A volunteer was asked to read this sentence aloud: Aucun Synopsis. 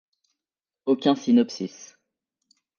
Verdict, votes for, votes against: accepted, 2, 0